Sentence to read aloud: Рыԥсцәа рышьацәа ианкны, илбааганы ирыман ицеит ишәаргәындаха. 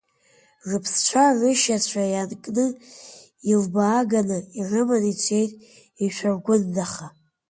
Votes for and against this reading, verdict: 2, 1, accepted